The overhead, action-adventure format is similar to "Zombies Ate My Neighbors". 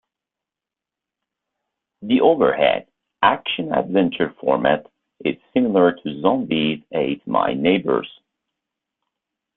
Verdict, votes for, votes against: accepted, 2, 0